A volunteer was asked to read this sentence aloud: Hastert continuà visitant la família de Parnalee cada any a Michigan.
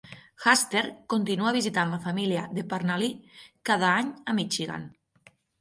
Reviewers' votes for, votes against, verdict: 0, 6, rejected